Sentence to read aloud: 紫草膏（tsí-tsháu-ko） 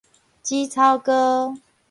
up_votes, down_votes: 0, 2